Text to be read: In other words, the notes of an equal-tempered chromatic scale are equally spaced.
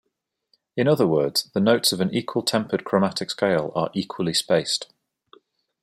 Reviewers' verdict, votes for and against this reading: accepted, 2, 0